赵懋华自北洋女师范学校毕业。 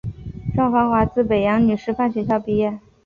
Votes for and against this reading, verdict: 3, 0, accepted